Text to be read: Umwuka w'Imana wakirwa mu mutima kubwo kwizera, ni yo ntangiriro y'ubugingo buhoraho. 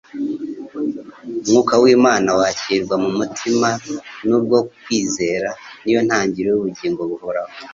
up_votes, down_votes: 1, 2